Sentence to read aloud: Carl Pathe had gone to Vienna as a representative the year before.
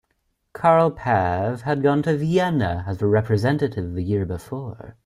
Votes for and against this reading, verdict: 2, 0, accepted